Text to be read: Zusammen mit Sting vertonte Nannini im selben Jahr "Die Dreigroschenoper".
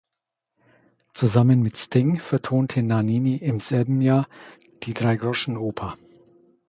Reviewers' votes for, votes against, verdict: 2, 0, accepted